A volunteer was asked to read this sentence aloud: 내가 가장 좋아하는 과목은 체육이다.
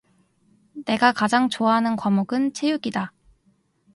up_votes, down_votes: 2, 0